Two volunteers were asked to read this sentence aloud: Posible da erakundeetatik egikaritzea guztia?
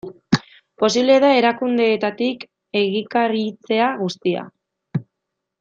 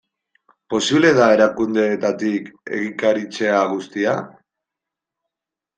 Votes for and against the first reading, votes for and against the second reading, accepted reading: 1, 2, 2, 0, second